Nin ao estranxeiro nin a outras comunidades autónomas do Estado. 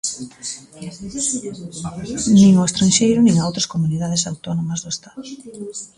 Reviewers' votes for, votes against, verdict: 2, 0, accepted